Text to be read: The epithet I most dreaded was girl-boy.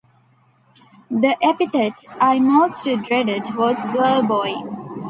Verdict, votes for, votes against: accepted, 2, 1